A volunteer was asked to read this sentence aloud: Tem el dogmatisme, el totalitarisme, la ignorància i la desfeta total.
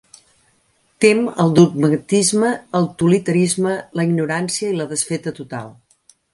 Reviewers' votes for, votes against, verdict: 0, 2, rejected